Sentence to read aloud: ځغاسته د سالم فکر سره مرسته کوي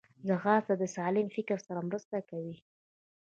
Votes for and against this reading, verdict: 3, 0, accepted